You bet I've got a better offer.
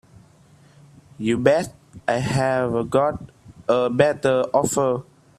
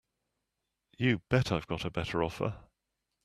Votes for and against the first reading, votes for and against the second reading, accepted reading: 0, 2, 2, 0, second